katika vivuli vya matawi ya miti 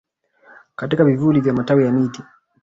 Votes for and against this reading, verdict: 2, 0, accepted